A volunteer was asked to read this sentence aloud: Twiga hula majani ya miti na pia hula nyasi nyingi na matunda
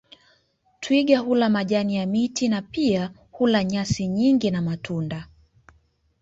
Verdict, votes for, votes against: accepted, 2, 0